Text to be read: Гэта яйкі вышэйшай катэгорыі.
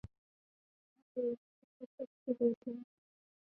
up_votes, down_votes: 0, 2